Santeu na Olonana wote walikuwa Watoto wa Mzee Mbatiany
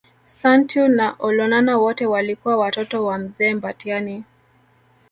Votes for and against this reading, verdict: 2, 0, accepted